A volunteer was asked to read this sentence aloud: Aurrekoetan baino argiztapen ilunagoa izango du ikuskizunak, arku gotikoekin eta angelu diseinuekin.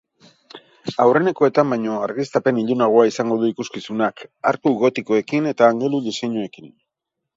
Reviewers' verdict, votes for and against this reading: rejected, 2, 2